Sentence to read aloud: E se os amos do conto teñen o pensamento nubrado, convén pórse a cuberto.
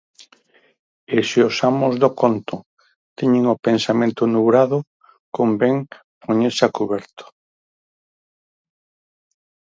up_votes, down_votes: 2, 4